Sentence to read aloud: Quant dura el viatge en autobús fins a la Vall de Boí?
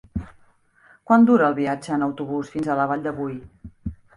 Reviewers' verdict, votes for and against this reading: accepted, 3, 0